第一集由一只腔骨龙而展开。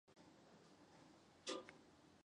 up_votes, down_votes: 0, 2